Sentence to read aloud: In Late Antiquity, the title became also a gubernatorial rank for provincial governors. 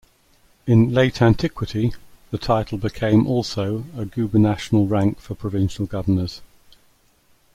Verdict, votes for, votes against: rejected, 1, 2